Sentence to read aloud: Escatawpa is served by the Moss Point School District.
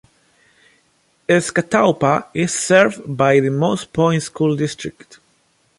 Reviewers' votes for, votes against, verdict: 2, 0, accepted